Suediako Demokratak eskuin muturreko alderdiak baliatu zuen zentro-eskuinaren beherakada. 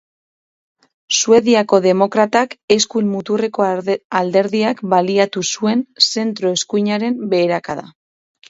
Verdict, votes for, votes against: rejected, 0, 4